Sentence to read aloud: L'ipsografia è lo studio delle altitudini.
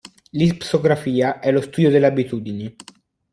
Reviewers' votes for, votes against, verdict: 1, 2, rejected